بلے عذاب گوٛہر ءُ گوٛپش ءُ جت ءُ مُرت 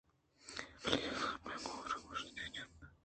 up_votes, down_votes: 0, 2